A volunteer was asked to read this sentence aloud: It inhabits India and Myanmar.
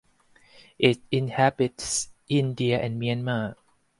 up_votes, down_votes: 4, 0